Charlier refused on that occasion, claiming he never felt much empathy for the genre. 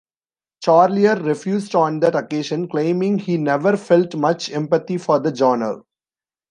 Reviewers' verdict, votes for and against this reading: rejected, 1, 2